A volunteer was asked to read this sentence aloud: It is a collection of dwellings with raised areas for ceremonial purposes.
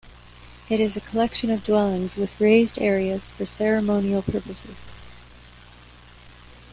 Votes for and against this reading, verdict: 1, 2, rejected